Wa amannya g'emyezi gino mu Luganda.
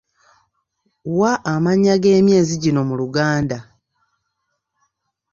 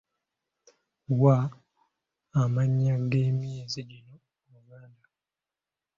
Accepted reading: first